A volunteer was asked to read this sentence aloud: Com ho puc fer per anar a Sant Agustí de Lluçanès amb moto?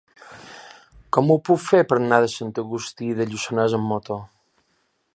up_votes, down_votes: 2, 0